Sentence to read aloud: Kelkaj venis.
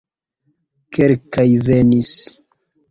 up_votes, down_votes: 2, 0